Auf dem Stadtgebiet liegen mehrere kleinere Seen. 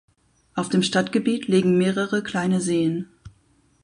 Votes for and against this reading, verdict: 2, 4, rejected